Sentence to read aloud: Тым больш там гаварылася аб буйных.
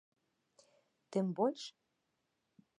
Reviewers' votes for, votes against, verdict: 0, 2, rejected